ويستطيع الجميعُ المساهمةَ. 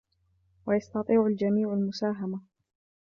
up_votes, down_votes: 2, 0